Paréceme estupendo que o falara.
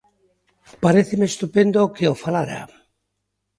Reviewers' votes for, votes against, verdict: 2, 0, accepted